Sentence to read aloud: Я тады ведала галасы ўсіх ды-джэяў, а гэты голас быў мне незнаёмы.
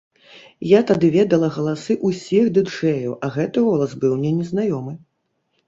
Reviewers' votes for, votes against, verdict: 3, 0, accepted